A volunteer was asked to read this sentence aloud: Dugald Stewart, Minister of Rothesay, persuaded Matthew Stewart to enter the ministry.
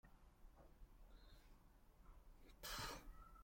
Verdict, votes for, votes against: rejected, 0, 2